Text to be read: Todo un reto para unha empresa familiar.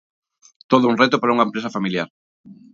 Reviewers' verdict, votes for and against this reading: accepted, 2, 0